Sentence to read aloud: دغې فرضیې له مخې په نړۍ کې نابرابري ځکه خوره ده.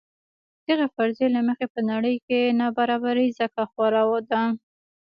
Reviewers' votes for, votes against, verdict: 2, 1, accepted